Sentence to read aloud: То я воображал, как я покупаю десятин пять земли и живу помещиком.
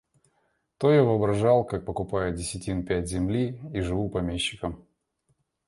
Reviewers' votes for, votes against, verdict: 1, 2, rejected